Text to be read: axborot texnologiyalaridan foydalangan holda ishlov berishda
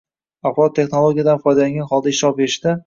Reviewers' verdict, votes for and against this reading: rejected, 1, 2